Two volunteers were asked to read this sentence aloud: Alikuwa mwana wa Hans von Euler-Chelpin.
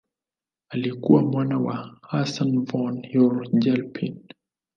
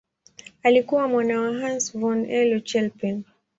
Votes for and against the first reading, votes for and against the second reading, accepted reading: 2, 2, 4, 0, second